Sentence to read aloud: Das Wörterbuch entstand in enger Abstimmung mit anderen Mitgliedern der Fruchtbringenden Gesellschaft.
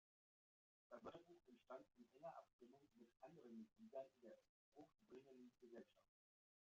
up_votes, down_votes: 0, 2